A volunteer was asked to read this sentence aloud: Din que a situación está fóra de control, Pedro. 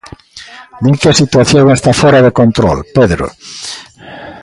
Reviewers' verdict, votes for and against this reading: rejected, 1, 2